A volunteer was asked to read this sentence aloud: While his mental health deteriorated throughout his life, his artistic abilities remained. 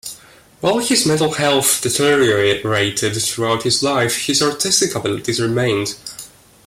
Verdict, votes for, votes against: accepted, 2, 0